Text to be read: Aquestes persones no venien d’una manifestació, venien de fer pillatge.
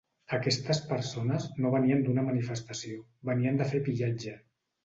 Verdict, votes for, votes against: accepted, 3, 0